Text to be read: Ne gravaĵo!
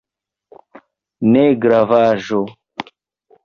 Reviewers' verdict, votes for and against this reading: accepted, 2, 0